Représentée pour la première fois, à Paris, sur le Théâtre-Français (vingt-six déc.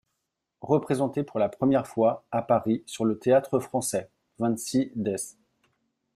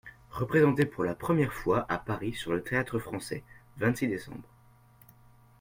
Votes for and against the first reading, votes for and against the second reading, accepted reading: 0, 2, 2, 0, second